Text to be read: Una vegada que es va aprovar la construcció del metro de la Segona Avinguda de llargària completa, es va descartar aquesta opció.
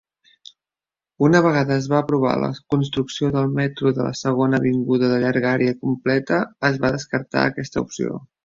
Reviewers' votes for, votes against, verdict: 0, 2, rejected